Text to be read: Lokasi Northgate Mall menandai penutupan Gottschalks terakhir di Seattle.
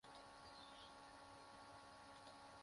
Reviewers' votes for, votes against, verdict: 0, 2, rejected